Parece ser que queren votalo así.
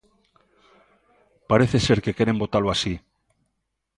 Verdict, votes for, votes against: accepted, 2, 0